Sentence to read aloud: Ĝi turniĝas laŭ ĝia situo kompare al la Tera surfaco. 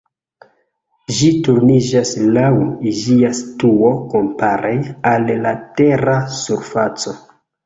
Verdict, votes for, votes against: accepted, 2, 1